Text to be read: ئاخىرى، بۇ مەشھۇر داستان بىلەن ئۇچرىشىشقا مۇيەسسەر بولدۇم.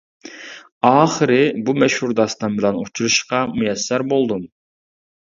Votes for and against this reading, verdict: 2, 0, accepted